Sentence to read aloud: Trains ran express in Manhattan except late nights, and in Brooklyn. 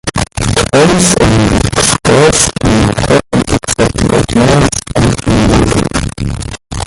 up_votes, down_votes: 0, 2